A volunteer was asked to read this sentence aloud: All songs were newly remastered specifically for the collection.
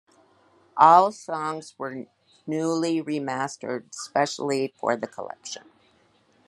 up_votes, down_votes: 0, 2